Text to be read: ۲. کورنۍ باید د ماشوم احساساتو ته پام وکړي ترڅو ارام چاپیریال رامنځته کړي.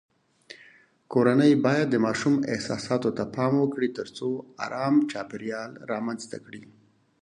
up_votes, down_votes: 0, 2